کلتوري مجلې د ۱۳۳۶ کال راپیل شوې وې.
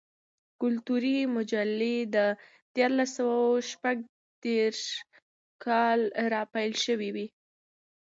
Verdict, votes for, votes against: rejected, 0, 2